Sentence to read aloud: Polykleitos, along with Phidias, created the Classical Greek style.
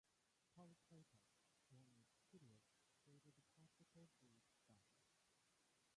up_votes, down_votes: 0, 2